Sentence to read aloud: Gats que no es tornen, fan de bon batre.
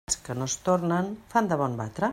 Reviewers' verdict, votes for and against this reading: rejected, 0, 2